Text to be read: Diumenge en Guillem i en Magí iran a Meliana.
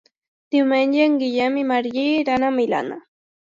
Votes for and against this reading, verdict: 0, 2, rejected